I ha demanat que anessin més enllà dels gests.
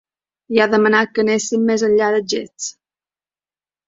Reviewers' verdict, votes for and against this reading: rejected, 0, 2